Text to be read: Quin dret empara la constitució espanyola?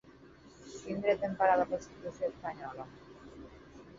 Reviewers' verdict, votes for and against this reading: rejected, 0, 4